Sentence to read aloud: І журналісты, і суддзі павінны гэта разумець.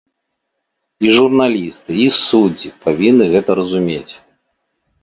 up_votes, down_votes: 3, 0